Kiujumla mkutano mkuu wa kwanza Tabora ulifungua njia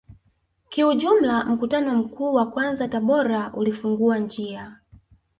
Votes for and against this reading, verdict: 4, 0, accepted